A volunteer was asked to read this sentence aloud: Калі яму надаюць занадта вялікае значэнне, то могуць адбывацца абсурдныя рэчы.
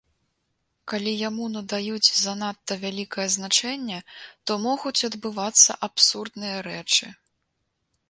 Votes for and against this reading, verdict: 2, 0, accepted